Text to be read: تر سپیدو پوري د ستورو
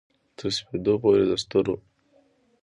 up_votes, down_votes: 2, 1